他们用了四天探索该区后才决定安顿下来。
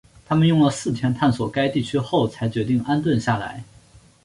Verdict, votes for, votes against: accepted, 5, 1